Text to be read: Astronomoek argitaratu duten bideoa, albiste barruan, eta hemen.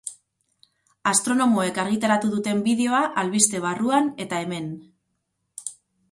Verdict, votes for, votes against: accepted, 4, 0